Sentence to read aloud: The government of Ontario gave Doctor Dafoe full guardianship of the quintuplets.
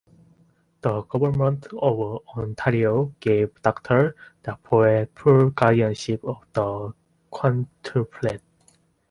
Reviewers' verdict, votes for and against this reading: accepted, 2, 0